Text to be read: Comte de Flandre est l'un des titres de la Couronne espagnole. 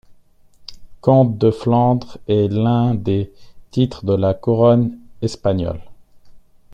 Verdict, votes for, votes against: accepted, 2, 1